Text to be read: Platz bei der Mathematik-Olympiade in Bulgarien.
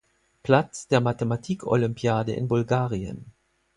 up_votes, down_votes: 0, 4